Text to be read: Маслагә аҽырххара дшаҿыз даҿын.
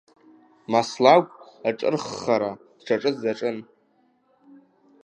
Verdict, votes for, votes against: rejected, 0, 2